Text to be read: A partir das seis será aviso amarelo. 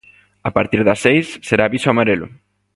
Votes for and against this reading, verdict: 2, 0, accepted